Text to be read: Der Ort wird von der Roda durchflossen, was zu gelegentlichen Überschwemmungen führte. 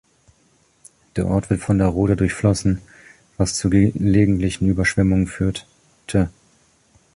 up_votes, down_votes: 0, 2